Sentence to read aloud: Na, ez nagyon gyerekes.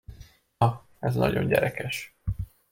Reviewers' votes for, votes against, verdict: 1, 2, rejected